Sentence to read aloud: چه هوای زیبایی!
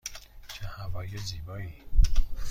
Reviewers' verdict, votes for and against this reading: accepted, 2, 0